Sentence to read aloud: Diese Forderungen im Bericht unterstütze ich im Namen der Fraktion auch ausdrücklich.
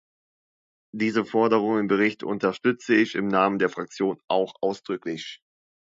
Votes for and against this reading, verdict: 2, 1, accepted